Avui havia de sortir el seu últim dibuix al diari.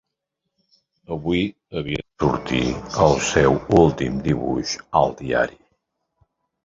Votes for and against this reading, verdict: 0, 2, rejected